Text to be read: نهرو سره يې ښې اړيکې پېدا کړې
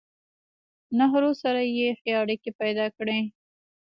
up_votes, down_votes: 2, 0